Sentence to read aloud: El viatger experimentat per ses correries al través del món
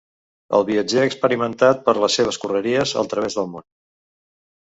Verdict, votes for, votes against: rejected, 1, 2